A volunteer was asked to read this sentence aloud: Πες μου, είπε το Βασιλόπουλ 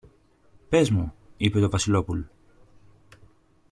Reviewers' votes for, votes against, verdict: 2, 0, accepted